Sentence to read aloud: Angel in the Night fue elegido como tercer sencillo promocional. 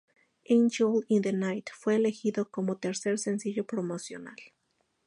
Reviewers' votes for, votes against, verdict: 2, 0, accepted